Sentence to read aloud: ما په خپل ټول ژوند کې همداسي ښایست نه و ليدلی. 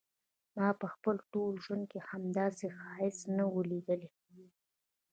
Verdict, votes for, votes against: rejected, 0, 2